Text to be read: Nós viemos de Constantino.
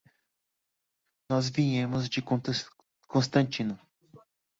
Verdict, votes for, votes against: rejected, 0, 2